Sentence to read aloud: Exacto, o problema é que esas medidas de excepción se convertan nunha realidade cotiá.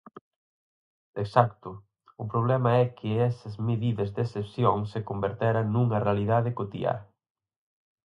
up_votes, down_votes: 2, 4